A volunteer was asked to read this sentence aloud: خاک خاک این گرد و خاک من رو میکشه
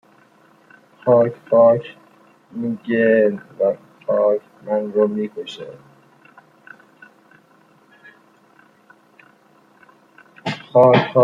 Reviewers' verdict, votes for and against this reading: rejected, 0, 2